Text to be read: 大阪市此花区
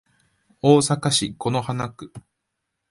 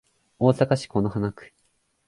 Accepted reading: second